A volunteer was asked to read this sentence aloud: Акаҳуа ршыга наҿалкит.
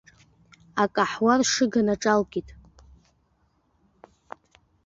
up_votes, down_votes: 1, 2